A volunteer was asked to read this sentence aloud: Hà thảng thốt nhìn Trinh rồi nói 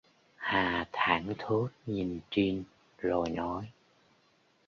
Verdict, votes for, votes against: rejected, 0, 2